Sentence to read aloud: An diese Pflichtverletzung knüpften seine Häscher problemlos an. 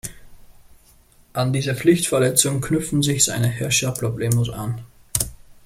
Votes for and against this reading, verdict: 0, 2, rejected